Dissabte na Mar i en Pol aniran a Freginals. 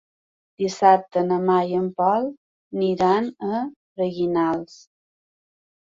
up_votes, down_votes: 2, 0